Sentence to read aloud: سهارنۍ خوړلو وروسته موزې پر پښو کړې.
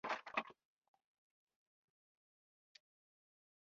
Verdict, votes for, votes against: rejected, 1, 2